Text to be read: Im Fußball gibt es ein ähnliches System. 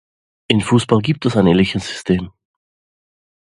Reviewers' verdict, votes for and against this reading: accepted, 2, 0